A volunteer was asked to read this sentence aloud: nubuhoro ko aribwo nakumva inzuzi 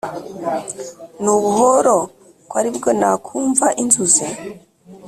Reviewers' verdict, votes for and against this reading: accepted, 2, 0